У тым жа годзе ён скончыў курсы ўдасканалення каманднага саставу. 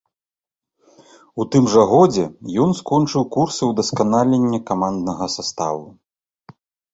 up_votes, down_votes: 2, 0